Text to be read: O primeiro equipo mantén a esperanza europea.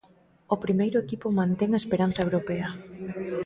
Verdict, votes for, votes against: accepted, 2, 0